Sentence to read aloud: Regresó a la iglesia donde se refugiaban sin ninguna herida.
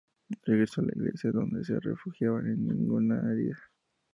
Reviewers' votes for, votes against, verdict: 0, 2, rejected